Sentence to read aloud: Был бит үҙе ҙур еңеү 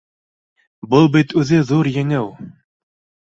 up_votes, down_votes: 2, 0